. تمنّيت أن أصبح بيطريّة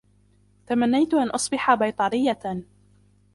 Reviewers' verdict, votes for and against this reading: accepted, 2, 0